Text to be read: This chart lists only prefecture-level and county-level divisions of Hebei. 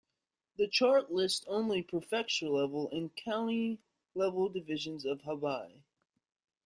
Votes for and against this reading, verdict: 0, 3, rejected